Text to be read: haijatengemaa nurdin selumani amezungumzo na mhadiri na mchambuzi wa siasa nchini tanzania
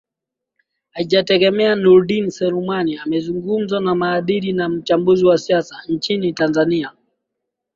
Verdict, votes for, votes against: accepted, 3, 2